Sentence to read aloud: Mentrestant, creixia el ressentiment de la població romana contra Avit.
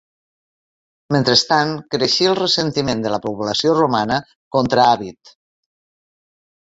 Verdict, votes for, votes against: rejected, 0, 2